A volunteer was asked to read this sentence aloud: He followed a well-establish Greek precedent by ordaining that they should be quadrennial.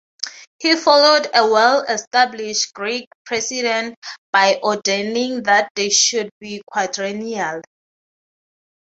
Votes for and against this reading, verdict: 0, 3, rejected